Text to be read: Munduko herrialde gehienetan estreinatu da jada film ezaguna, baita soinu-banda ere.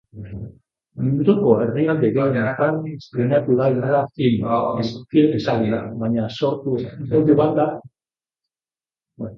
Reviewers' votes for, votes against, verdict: 0, 2, rejected